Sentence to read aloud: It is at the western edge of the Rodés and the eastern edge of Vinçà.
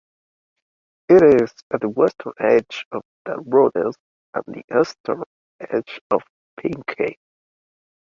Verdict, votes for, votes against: rejected, 1, 2